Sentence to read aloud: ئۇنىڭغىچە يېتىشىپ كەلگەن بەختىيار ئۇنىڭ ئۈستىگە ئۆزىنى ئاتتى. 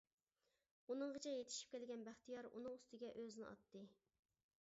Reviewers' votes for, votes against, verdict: 2, 0, accepted